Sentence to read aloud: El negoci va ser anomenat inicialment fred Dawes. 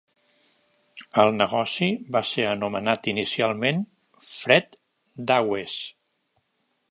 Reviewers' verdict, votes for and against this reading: accepted, 2, 0